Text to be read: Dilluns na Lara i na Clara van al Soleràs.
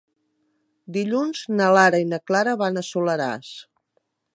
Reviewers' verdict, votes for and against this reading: rejected, 2, 3